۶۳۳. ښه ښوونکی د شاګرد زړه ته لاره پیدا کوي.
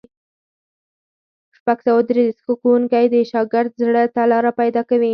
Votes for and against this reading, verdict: 0, 2, rejected